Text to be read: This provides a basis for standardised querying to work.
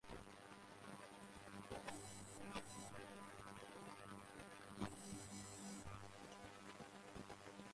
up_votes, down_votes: 0, 2